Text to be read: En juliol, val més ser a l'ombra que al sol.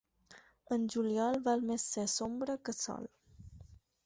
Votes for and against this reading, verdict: 2, 4, rejected